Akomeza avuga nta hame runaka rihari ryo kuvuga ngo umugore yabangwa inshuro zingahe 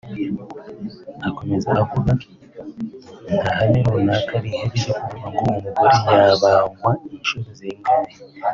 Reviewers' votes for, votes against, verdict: 1, 3, rejected